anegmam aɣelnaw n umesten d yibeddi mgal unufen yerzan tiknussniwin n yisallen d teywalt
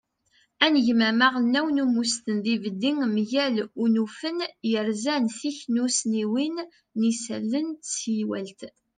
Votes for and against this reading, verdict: 2, 1, accepted